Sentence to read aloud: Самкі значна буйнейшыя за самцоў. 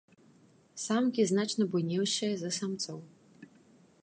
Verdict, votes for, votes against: rejected, 1, 2